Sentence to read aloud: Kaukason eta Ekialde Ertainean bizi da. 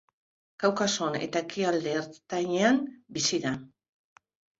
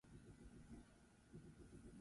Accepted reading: first